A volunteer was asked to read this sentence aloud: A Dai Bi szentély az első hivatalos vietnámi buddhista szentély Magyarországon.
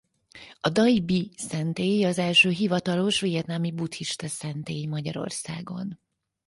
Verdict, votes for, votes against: accepted, 4, 0